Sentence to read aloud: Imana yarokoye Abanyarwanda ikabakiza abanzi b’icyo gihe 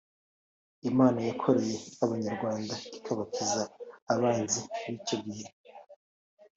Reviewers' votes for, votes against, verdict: 2, 1, accepted